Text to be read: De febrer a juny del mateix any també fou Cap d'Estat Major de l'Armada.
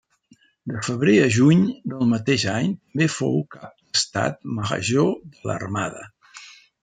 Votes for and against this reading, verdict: 0, 2, rejected